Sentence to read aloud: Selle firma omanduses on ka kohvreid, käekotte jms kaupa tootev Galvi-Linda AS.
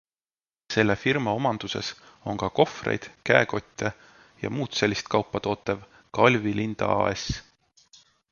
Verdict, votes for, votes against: accepted, 2, 0